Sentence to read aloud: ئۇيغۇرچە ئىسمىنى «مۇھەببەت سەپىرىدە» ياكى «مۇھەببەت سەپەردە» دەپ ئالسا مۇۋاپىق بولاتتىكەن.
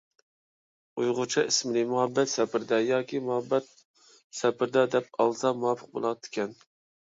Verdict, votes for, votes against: rejected, 1, 2